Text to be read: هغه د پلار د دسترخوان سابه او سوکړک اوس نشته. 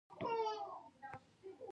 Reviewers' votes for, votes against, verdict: 2, 3, rejected